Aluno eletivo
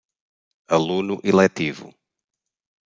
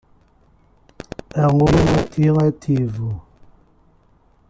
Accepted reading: first